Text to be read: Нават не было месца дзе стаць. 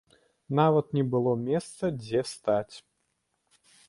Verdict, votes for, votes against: accepted, 2, 0